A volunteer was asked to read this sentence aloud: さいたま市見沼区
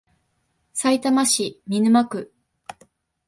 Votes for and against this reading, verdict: 2, 0, accepted